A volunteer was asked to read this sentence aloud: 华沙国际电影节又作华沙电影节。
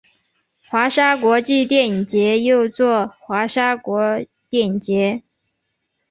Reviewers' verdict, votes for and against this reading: rejected, 0, 2